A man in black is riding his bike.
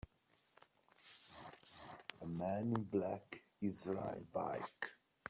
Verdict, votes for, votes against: rejected, 0, 2